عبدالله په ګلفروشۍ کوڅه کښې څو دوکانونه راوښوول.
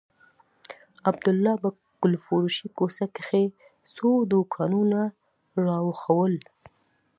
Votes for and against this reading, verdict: 2, 0, accepted